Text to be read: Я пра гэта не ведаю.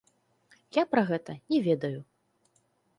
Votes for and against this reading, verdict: 2, 0, accepted